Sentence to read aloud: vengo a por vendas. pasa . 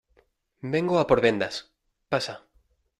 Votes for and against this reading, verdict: 2, 0, accepted